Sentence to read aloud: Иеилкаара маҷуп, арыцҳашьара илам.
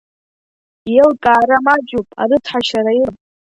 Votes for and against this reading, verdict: 2, 1, accepted